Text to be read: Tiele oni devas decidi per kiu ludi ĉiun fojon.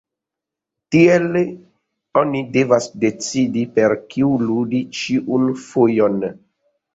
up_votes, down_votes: 2, 0